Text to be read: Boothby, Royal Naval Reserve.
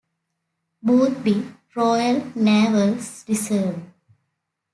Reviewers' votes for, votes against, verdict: 1, 2, rejected